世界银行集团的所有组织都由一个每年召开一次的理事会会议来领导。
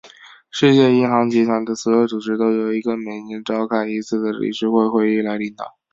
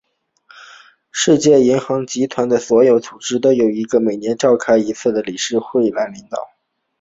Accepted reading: first